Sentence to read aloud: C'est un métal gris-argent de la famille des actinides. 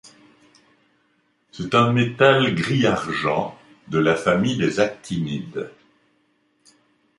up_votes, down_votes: 2, 0